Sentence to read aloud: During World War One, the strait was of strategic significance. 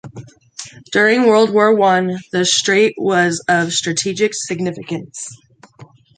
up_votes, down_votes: 1, 2